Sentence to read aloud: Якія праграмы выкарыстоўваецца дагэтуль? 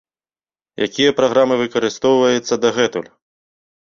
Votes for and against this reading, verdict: 2, 0, accepted